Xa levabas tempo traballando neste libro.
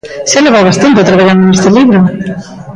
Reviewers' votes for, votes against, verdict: 0, 2, rejected